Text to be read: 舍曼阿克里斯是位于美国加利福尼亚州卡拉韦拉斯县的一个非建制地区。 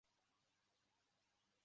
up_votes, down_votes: 0, 4